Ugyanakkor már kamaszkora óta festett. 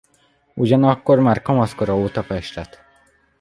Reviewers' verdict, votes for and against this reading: rejected, 1, 2